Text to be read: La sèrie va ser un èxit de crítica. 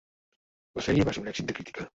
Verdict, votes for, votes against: rejected, 1, 2